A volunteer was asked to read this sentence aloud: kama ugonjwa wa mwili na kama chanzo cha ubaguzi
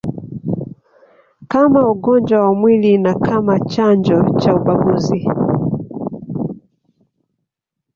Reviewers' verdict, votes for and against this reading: rejected, 0, 2